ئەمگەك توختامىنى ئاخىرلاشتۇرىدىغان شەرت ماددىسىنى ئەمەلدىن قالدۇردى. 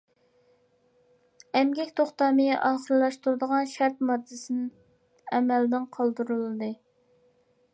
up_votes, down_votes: 0, 2